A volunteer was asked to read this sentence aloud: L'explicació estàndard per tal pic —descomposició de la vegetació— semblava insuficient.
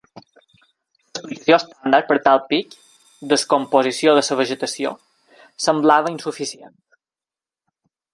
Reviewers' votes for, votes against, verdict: 0, 2, rejected